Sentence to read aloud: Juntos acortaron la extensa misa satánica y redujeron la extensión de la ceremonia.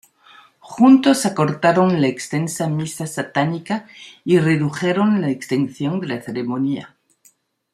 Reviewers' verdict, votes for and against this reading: accepted, 2, 1